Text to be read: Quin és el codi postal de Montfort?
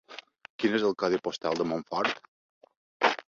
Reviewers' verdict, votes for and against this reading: accepted, 2, 0